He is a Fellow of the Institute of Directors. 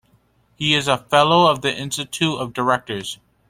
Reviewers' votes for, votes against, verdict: 2, 0, accepted